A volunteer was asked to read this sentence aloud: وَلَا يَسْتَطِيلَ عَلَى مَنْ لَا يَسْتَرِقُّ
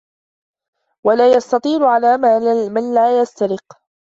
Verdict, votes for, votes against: rejected, 1, 2